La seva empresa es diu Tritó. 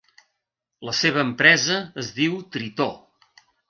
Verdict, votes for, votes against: accepted, 2, 0